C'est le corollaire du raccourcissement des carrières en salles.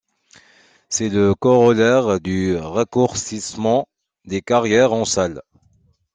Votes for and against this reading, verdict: 2, 1, accepted